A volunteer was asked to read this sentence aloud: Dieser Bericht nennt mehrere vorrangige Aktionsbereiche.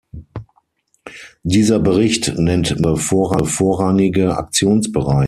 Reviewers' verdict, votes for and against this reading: rejected, 0, 6